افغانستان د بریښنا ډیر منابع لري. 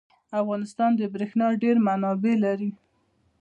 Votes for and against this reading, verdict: 2, 0, accepted